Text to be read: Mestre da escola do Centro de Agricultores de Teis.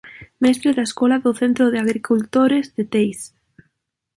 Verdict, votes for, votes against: accepted, 2, 1